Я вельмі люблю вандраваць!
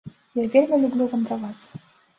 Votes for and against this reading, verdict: 2, 0, accepted